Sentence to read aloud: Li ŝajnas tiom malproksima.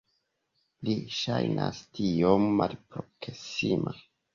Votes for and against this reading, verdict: 1, 2, rejected